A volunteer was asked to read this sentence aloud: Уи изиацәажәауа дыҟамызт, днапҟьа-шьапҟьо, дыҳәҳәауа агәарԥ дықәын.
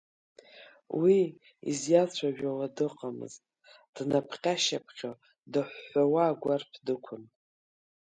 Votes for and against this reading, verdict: 1, 3, rejected